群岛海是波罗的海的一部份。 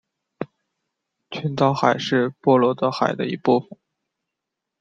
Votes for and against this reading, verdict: 2, 1, accepted